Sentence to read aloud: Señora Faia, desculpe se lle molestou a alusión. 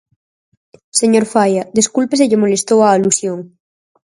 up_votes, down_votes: 2, 4